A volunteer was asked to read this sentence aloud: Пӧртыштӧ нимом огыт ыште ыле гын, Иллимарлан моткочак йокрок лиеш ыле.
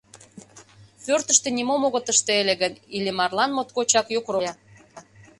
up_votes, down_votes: 0, 2